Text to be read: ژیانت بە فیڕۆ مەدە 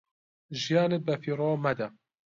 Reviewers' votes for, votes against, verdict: 2, 0, accepted